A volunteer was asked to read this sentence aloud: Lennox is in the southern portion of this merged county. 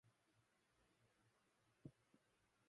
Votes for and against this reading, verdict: 0, 2, rejected